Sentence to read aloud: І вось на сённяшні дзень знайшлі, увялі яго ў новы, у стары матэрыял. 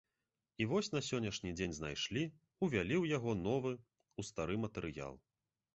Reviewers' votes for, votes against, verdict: 1, 2, rejected